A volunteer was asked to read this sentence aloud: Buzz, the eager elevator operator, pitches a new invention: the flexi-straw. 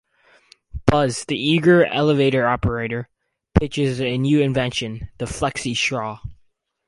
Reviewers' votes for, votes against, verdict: 0, 4, rejected